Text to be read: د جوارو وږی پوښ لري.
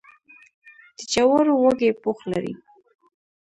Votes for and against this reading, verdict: 1, 2, rejected